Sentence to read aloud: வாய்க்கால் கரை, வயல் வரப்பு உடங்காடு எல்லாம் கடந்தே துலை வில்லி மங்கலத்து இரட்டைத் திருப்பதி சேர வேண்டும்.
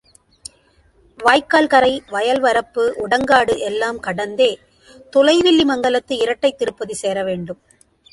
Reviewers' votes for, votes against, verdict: 2, 0, accepted